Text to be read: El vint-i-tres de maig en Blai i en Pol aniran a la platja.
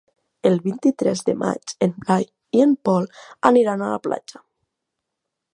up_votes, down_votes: 2, 1